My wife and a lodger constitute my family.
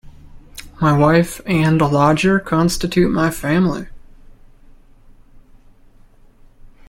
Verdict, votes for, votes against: accepted, 2, 0